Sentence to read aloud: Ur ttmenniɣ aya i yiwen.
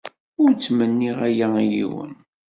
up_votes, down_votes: 2, 0